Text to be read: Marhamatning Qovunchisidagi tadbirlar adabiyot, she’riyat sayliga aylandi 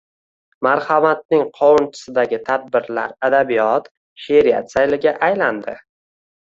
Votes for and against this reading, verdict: 2, 0, accepted